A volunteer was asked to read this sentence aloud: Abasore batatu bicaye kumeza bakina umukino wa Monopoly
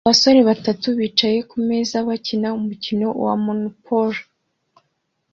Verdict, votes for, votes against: accepted, 2, 0